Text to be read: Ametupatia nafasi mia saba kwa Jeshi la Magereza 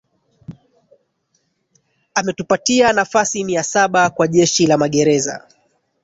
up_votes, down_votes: 1, 2